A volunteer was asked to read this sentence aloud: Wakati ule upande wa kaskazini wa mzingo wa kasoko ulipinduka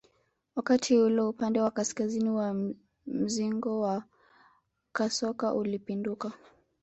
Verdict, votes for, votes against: accepted, 3, 0